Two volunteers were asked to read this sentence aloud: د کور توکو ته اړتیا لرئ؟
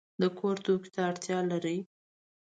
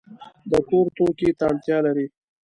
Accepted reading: first